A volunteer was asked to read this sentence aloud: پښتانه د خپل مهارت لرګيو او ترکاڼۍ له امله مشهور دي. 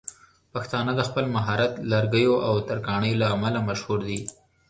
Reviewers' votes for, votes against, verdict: 2, 0, accepted